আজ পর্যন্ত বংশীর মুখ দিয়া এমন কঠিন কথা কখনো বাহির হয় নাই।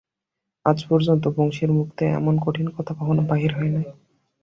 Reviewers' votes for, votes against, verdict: 5, 0, accepted